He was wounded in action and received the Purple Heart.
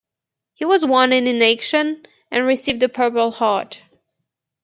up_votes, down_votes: 0, 2